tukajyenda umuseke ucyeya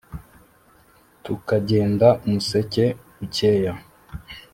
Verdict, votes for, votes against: accepted, 2, 0